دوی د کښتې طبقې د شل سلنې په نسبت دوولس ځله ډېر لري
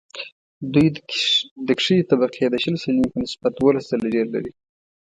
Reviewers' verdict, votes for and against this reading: accepted, 2, 0